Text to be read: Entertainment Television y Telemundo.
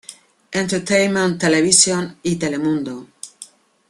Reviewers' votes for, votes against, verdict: 2, 1, accepted